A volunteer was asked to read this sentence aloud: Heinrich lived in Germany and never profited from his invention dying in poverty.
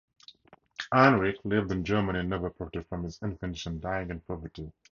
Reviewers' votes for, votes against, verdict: 2, 2, rejected